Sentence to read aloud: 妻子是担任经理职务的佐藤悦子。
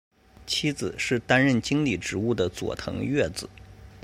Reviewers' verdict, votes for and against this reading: accepted, 2, 0